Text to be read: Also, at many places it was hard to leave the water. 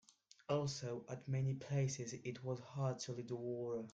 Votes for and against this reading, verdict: 1, 2, rejected